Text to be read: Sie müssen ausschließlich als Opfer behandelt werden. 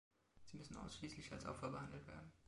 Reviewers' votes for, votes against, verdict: 0, 2, rejected